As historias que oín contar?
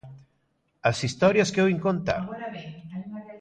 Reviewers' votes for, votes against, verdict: 0, 3, rejected